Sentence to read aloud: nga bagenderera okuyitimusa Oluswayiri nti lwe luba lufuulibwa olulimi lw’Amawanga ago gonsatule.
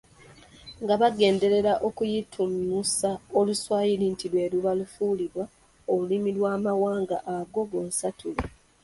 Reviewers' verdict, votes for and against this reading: accepted, 2, 1